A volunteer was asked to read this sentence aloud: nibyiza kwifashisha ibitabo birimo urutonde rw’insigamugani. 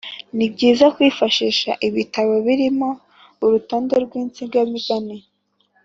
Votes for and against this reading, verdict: 3, 1, accepted